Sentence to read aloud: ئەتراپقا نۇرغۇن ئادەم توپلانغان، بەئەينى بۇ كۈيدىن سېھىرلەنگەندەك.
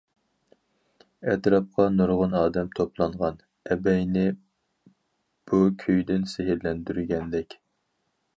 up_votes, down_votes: 0, 4